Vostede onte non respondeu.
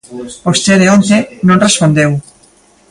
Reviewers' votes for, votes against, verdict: 1, 2, rejected